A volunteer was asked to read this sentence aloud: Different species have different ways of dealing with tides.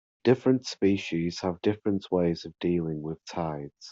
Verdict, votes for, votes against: accepted, 2, 0